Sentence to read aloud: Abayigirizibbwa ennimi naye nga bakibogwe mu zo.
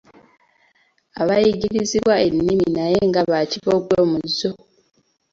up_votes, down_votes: 2, 1